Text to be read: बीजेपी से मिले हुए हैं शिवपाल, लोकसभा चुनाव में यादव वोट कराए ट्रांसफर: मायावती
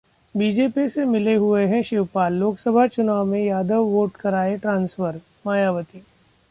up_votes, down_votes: 1, 2